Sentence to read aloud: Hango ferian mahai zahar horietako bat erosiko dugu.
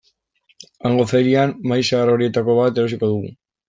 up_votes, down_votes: 2, 0